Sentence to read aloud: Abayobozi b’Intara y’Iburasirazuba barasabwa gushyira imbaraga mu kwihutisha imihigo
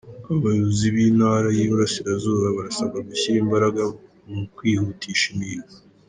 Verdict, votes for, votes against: accepted, 2, 1